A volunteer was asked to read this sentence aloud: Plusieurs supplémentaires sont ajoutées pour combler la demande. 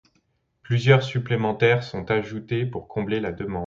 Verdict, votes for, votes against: accepted, 3, 0